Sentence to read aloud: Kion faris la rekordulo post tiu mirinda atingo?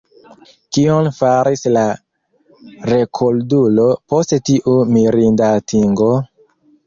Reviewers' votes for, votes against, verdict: 2, 3, rejected